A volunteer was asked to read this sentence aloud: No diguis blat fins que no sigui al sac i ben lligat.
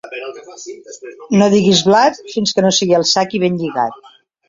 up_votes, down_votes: 1, 2